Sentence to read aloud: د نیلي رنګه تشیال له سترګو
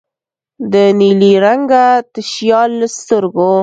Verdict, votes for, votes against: accepted, 2, 0